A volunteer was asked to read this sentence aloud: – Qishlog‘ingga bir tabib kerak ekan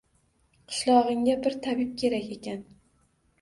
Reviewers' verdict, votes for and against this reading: accepted, 2, 0